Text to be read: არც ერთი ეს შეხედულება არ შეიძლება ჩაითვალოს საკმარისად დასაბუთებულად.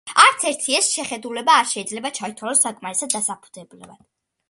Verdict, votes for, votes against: accepted, 2, 1